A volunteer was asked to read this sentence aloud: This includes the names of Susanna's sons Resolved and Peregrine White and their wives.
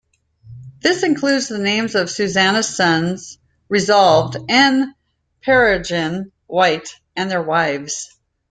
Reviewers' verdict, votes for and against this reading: accepted, 3, 2